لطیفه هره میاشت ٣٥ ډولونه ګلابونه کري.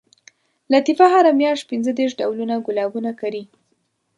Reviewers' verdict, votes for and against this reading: rejected, 0, 2